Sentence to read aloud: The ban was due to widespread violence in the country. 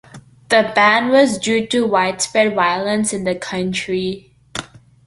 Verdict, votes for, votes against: accepted, 2, 0